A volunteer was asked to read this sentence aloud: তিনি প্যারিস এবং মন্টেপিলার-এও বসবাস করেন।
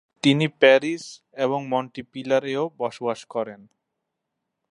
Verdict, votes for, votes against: accepted, 2, 0